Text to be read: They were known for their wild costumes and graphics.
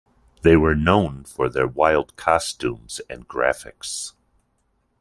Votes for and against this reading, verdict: 2, 0, accepted